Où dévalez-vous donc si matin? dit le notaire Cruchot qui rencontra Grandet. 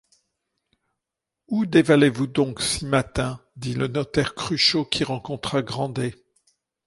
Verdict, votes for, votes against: accepted, 2, 0